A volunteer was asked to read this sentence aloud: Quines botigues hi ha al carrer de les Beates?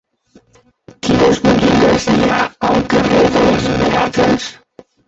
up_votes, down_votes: 0, 2